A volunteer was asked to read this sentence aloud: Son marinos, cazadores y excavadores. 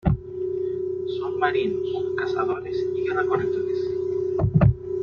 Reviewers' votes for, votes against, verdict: 0, 2, rejected